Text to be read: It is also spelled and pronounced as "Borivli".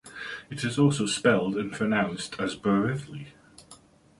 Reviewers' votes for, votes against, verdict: 2, 0, accepted